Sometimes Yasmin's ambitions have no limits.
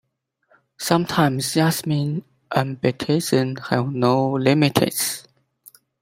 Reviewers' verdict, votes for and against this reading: rejected, 0, 2